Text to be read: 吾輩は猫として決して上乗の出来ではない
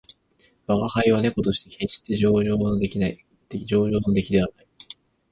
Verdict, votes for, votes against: accepted, 6, 2